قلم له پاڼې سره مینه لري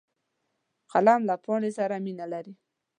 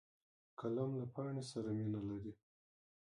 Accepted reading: first